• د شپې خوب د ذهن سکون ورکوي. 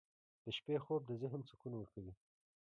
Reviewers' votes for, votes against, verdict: 2, 1, accepted